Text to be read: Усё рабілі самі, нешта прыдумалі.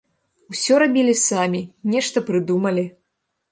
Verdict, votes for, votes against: accepted, 2, 0